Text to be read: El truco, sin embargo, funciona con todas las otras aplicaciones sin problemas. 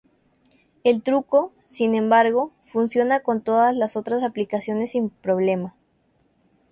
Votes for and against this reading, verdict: 2, 0, accepted